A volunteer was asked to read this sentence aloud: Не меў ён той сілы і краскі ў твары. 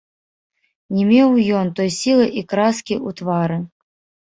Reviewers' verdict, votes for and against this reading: rejected, 2, 3